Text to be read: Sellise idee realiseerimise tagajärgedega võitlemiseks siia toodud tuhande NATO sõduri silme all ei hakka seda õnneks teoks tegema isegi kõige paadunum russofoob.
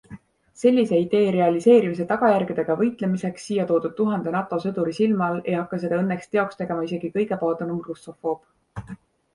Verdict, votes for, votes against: accepted, 2, 0